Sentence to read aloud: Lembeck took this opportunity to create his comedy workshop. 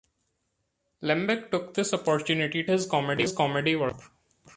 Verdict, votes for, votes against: rejected, 0, 2